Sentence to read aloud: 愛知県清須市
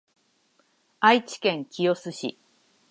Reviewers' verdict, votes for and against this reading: accepted, 6, 0